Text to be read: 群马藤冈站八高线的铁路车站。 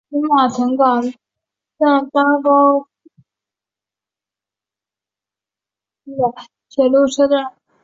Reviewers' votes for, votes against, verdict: 0, 2, rejected